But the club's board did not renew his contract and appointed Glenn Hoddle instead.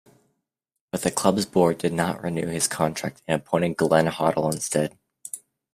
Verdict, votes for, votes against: accepted, 2, 0